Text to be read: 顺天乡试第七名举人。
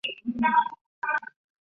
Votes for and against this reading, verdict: 1, 3, rejected